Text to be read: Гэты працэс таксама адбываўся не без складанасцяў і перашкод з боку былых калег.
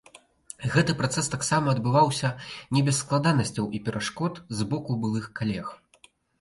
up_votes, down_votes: 2, 0